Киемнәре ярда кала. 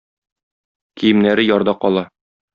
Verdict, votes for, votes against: accepted, 2, 0